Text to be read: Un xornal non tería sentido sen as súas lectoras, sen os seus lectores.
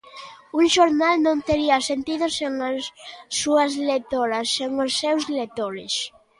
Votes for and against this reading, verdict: 2, 0, accepted